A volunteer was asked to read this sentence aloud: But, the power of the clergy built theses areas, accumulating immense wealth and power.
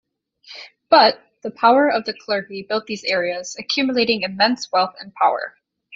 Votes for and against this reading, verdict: 0, 2, rejected